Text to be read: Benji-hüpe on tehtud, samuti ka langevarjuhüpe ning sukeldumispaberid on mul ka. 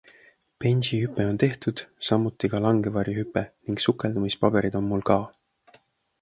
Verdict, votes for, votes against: accepted, 2, 0